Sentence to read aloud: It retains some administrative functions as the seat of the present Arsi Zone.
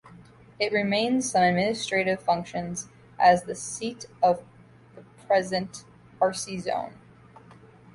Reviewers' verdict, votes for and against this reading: rejected, 0, 2